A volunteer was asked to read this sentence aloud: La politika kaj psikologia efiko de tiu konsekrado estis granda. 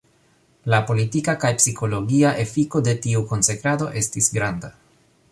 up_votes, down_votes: 2, 1